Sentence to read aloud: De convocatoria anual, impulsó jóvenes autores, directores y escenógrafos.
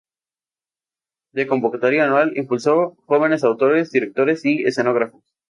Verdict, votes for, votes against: accepted, 2, 0